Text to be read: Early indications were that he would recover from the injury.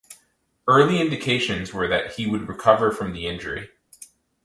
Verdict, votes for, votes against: accepted, 4, 2